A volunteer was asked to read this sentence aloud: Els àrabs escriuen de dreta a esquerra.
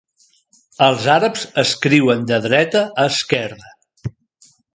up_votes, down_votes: 3, 0